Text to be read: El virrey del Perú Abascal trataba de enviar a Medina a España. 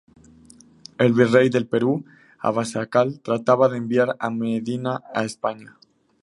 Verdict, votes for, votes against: accepted, 2, 0